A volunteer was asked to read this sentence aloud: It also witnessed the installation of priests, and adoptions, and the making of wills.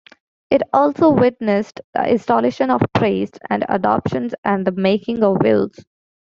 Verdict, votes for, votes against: accepted, 2, 0